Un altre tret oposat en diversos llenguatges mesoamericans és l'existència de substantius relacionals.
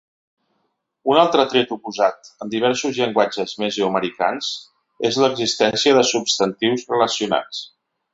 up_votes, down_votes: 1, 2